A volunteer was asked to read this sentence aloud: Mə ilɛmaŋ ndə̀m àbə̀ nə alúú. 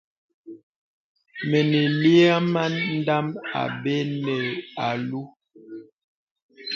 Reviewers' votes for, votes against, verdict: 0, 2, rejected